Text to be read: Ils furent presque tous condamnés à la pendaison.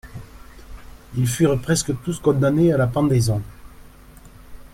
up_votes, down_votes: 2, 0